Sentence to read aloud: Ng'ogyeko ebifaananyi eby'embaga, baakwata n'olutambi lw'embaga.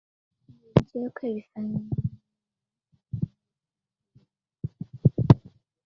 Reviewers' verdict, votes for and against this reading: rejected, 0, 2